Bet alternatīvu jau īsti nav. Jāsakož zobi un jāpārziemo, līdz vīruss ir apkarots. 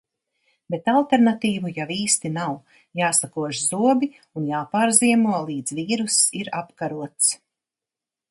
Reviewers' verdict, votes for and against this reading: accepted, 2, 0